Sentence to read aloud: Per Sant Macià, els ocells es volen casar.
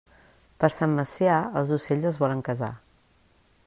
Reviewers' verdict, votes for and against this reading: accepted, 2, 0